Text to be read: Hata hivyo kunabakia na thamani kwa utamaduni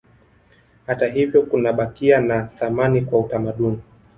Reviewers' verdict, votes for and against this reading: rejected, 1, 2